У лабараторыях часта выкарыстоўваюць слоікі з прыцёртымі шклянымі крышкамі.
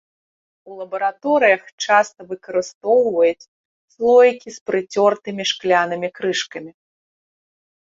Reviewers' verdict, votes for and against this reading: rejected, 1, 2